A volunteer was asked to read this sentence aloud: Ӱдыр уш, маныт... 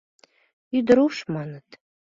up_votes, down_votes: 2, 0